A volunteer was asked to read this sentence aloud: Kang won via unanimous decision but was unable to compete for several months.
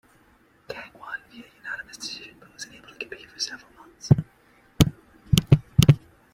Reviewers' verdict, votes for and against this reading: accepted, 2, 1